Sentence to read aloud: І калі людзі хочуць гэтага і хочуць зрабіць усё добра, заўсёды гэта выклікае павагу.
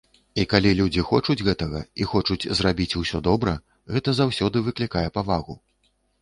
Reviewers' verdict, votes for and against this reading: rejected, 1, 2